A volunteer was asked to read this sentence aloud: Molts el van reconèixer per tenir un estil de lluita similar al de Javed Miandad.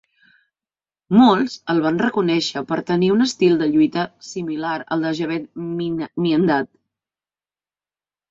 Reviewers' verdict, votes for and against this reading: rejected, 0, 2